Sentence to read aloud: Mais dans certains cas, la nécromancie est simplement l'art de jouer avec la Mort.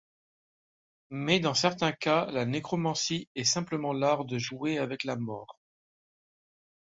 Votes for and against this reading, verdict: 2, 0, accepted